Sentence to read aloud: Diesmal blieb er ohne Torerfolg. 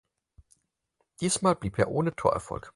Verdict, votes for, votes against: accepted, 4, 0